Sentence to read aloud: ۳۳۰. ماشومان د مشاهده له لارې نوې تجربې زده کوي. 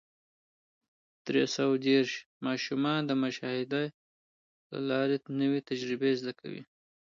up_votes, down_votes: 0, 2